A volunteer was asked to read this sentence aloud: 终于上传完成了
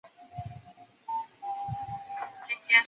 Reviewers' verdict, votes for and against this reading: rejected, 0, 4